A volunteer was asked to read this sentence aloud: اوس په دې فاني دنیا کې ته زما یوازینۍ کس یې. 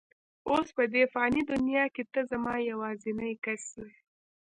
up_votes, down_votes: 1, 2